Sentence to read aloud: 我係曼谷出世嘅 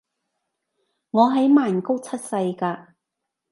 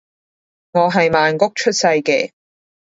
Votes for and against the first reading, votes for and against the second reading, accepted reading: 0, 2, 2, 0, second